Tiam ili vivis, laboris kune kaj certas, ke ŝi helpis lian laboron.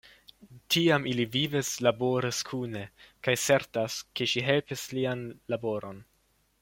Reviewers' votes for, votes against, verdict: 1, 2, rejected